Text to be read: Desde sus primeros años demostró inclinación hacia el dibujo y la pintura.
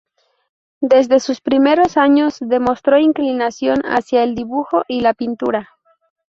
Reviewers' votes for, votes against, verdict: 2, 0, accepted